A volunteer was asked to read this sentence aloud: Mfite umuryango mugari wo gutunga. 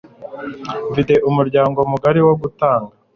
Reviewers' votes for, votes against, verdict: 0, 2, rejected